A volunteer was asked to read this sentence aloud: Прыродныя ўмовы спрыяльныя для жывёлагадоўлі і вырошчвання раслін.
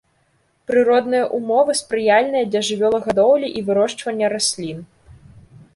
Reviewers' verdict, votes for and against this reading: accepted, 2, 0